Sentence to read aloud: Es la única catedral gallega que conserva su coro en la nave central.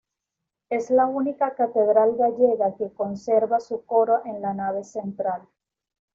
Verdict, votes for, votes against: accepted, 2, 0